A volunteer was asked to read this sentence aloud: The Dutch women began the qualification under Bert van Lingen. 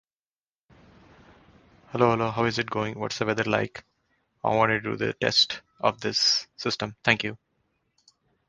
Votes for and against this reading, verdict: 0, 2, rejected